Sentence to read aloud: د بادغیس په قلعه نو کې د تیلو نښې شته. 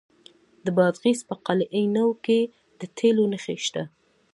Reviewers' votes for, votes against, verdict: 2, 0, accepted